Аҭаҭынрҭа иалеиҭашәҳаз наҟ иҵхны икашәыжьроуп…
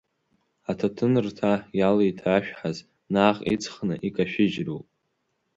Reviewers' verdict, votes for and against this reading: accepted, 2, 0